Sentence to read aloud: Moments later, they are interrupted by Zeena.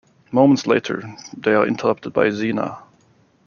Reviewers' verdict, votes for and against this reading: accepted, 2, 0